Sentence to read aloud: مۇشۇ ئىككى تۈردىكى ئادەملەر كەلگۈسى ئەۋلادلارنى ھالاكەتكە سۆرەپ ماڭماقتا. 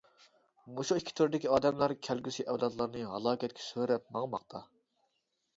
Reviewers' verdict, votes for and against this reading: accepted, 2, 0